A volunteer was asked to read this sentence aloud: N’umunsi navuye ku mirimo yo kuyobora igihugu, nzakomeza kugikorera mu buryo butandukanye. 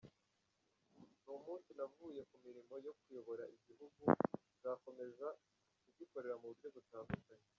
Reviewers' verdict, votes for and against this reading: rejected, 0, 2